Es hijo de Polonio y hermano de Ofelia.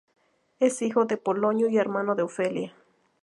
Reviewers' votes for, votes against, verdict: 2, 0, accepted